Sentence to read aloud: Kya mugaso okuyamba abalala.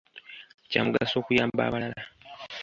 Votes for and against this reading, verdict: 2, 0, accepted